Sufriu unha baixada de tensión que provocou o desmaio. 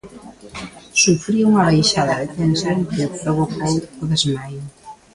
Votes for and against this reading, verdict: 0, 2, rejected